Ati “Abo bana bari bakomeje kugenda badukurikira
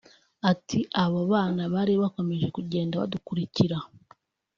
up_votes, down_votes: 3, 1